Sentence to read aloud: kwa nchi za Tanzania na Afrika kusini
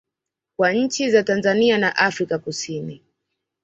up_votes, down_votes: 2, 1